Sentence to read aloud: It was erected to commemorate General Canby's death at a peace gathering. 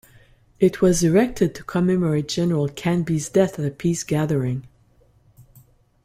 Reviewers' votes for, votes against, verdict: 2, 0, accepted